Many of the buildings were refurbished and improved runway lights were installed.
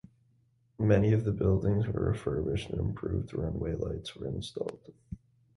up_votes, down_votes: 2, 0